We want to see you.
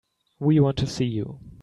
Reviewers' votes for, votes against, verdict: 2, 0, accepted